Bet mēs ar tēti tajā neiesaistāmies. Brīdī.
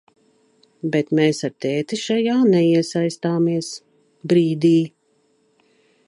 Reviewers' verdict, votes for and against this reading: rejected, 0, 2